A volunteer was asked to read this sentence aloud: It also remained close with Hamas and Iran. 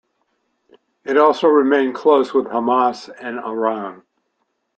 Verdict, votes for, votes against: accepted, 2, 0